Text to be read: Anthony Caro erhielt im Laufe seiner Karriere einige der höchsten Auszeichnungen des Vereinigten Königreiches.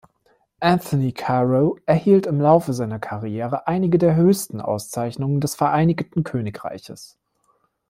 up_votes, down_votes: 1, 2